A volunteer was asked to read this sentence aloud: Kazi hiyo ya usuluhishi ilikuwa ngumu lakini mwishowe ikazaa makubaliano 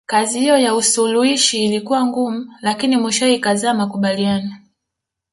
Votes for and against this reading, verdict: 1, 2, rejected